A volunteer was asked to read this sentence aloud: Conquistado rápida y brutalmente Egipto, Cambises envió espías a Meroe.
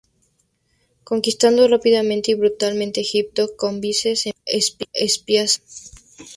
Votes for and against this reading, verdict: 0, 2, rejected